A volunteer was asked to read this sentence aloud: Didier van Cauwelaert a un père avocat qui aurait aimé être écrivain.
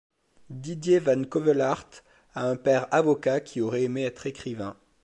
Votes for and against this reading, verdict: 0, 2, rejected